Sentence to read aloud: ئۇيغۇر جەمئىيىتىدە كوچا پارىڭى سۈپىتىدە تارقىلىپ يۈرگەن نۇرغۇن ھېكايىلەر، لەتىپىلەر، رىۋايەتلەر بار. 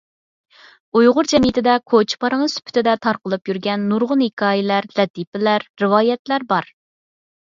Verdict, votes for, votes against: accepted, 4, 0